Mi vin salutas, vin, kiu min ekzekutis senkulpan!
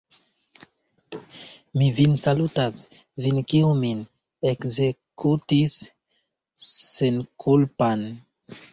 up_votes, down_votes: 2, 1